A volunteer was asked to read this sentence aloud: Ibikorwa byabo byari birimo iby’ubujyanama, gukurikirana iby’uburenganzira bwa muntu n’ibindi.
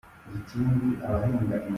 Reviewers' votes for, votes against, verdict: 0, 2, rejected